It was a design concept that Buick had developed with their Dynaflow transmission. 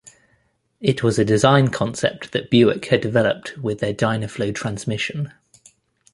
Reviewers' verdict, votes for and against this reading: accepted, 2, 1